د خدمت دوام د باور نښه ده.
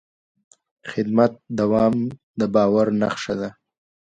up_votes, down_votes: 2, 0